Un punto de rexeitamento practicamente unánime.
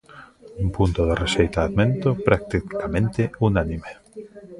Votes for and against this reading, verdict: 0, 2, rejected